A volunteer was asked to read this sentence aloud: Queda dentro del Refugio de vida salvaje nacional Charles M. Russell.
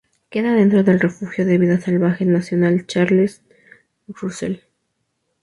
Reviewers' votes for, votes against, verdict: 0, 2, rejected